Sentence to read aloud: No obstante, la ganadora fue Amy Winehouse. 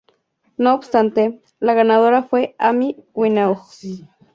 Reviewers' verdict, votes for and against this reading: rejected, 2, 2